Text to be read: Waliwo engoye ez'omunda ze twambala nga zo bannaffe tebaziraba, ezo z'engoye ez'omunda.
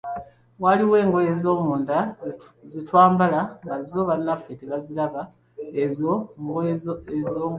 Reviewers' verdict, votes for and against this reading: rejected, 1, 2